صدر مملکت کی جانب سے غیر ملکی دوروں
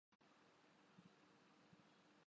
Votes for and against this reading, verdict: 1, 5, rejected